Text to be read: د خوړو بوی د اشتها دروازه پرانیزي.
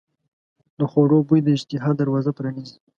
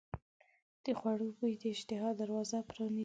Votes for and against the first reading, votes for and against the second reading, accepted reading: 2, 0, 1, 2, first